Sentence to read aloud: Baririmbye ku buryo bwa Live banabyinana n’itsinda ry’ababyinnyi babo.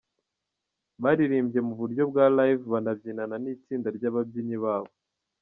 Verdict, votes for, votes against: rejected, 1, 2